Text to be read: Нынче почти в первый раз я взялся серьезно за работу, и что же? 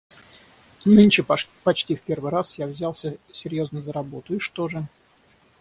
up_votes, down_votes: 0, 6